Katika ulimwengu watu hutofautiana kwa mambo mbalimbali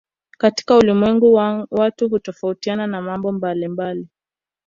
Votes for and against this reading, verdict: 2, 1, accepted